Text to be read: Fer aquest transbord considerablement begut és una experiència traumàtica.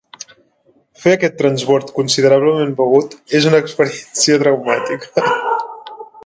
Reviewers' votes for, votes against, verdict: 0, 2, rejected